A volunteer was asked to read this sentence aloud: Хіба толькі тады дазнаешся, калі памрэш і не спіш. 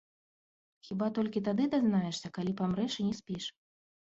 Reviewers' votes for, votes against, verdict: 1, 2, rejected